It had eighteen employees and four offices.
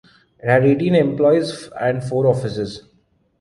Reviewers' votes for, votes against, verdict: 1, 2, rejected